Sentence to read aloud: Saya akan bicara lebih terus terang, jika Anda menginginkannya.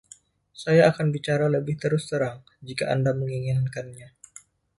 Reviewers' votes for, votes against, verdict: 2, 0, accepted